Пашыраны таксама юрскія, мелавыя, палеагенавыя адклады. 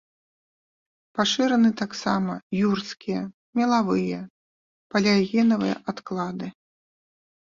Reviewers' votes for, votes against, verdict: 2, 0, accepted